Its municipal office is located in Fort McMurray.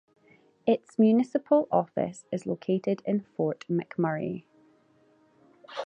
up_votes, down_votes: 2, 0